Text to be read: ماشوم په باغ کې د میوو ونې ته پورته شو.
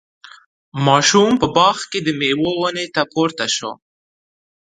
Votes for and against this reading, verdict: 2, 0, accepted